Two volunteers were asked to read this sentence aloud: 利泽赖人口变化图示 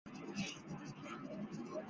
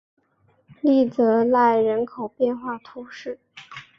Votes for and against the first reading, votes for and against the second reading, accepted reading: 0, 2, 3, 0, second